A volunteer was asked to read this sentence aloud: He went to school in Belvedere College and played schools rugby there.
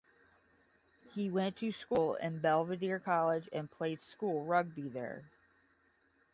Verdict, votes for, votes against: rejected, 5, 5